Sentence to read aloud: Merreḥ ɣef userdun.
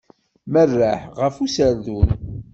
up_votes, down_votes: 2, 0